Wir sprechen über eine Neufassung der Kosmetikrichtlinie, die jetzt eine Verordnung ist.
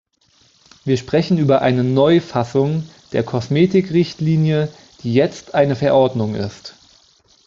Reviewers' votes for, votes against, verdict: 2, 0, accepted